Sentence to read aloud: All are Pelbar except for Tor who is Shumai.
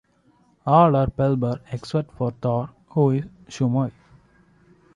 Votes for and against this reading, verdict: 0, 2, rejected